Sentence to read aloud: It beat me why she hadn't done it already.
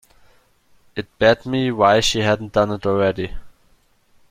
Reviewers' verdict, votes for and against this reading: rejected, 0, 2